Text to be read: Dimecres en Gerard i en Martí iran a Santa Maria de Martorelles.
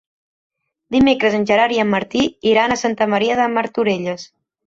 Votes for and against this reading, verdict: 3, 0, accepted